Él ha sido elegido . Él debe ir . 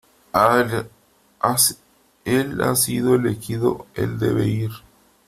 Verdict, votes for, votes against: rejected, 0, 2